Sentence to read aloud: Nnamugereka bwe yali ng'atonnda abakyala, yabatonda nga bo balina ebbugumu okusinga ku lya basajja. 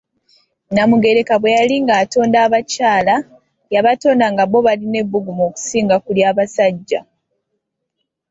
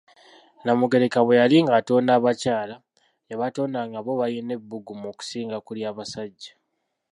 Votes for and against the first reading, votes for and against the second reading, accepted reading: 2, 0, 1, 2, first